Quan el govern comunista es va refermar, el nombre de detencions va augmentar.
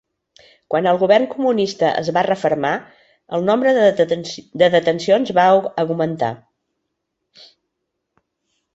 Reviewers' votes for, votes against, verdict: 0, 2, rejected